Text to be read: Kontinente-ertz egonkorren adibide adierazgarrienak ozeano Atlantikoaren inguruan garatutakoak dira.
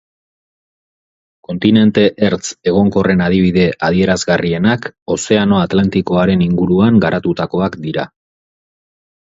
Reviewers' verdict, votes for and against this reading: accepted, 4, 0